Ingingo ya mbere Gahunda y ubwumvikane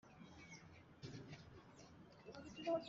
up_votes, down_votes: 1, 2